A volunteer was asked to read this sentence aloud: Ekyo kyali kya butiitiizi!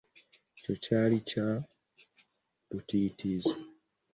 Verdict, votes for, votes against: rejected, 1, 2